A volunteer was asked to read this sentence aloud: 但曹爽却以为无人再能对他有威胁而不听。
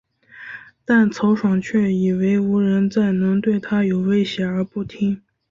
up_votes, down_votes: 2, 0